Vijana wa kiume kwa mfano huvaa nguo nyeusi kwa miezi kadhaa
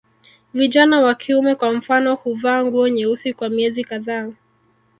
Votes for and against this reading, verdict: 1, 2, rejected